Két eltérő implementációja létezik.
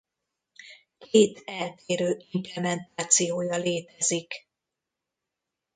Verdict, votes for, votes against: rejected, 1, 2